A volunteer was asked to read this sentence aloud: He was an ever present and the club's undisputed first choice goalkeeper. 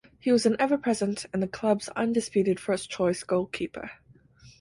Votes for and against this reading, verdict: 4, 0, accepted